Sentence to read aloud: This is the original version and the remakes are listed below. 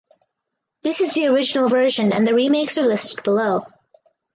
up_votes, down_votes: 4, 0